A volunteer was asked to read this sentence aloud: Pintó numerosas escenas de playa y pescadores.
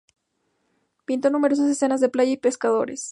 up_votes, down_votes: 2, 0